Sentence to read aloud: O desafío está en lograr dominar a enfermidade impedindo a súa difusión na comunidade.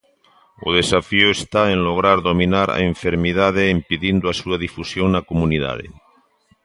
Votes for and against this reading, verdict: 2, 0, accepted